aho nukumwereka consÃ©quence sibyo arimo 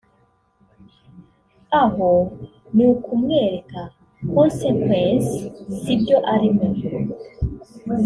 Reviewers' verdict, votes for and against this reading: rejected, 1, 2